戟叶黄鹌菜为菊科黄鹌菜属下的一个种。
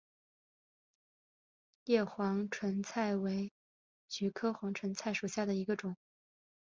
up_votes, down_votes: 0, 2